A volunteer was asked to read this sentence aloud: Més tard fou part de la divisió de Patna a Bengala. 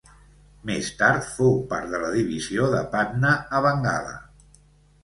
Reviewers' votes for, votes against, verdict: 3, 0, accepted